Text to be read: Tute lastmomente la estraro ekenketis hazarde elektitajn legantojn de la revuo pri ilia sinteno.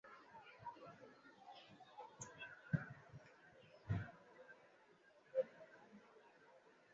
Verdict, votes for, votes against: rejected, 1, 2